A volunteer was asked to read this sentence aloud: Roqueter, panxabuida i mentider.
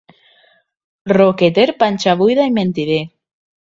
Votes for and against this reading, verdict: 2, 0, accepted